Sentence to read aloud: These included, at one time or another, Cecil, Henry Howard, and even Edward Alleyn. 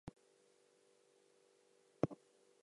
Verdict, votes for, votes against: rejected, 0, 2